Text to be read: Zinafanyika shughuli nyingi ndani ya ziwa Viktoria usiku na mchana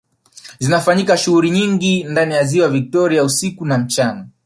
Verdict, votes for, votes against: rejected, 0, 2